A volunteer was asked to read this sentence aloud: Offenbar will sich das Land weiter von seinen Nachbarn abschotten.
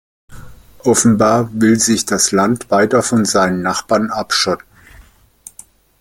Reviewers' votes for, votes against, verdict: 2, 0, accepted